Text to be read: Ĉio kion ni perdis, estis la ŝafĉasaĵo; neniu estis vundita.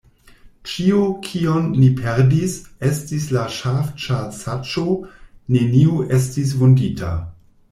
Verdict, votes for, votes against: rejected, 0, 2